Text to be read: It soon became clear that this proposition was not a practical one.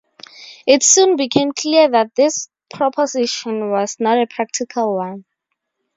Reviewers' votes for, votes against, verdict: 0, 2, rejected